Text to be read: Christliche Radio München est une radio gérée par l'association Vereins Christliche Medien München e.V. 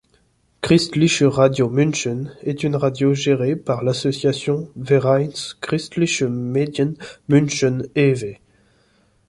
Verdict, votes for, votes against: accepted, 2, 0